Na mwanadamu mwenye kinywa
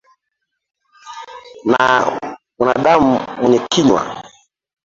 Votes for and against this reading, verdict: 1, 2, rejected